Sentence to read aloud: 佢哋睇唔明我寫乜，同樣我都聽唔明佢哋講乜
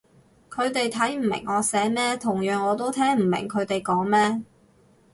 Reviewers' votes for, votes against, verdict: 0, 2, rejected